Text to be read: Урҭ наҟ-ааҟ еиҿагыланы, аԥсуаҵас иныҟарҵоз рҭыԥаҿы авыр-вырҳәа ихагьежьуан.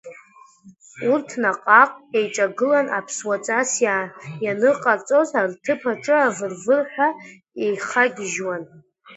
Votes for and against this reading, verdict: 1, 2, rejected